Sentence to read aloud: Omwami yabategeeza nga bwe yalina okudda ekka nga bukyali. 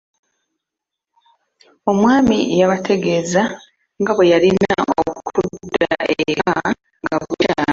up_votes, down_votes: 1, 2